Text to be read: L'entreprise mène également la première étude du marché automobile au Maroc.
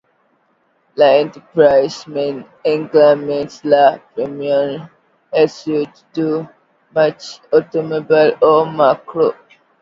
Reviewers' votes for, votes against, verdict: 0, 2, rejected